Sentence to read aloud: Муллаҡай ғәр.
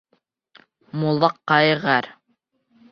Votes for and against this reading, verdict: 2, 1, accepted